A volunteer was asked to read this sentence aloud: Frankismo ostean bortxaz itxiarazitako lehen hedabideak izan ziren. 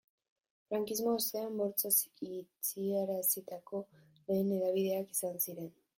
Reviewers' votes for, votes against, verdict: 3, 1, accepted